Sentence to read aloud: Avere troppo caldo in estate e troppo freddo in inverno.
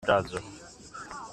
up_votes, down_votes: 0, 2